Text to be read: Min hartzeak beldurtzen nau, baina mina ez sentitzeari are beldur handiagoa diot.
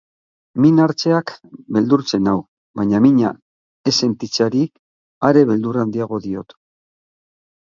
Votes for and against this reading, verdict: 3, 6, rejected